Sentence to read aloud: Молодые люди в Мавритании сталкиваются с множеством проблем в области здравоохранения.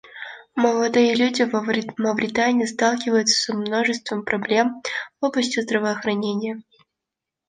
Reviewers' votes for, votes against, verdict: 0, 2, rejected